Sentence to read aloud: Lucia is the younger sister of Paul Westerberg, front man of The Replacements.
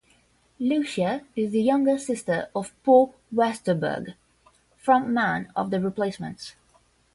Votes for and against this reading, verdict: 5, 0, accepted